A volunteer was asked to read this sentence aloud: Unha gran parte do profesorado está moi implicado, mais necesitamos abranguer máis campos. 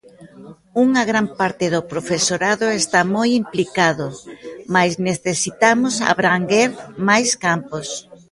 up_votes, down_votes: 2, 0